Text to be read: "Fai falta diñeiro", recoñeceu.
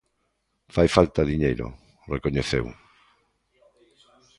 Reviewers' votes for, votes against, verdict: 2, 1, accepted